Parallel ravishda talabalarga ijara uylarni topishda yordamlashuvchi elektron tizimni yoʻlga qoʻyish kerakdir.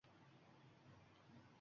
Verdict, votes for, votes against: rejected, 1, 2